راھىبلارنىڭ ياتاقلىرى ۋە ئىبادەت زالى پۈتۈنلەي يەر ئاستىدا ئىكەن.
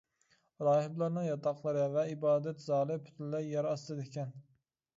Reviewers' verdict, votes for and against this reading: accepted, 2, 1